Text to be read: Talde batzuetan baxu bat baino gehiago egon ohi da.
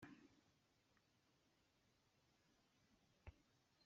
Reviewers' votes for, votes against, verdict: 0, 2, rejected